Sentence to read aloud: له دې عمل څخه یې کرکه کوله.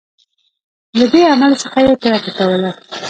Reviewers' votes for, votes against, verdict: 2, 1, accepted